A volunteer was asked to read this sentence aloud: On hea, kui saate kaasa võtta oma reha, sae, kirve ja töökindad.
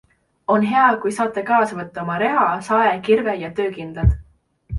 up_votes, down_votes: 2, 0